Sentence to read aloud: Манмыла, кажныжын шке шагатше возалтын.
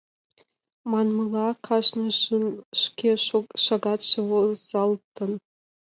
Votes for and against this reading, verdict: 2, 1, accepted